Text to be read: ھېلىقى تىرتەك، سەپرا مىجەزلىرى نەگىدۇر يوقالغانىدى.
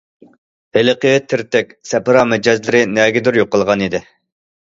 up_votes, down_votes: 2, 0